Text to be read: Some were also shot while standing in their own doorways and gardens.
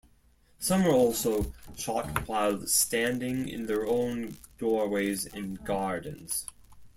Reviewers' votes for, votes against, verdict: 0, 2, rejected